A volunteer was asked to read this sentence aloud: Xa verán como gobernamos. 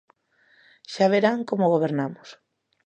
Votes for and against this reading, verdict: 2, 0, accepted